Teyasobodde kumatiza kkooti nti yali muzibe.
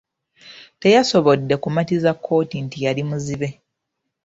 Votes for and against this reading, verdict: 0, 2, rejected